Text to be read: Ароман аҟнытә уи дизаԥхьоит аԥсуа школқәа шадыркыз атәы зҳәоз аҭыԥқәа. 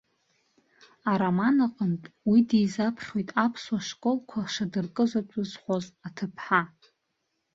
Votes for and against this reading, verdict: 0, 3, rejected